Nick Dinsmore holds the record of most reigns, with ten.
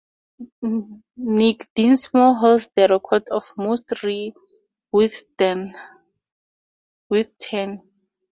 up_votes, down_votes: 0, 2